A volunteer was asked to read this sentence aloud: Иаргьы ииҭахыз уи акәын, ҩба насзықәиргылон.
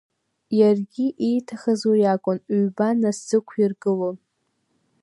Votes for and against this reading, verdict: 2, 0, accepted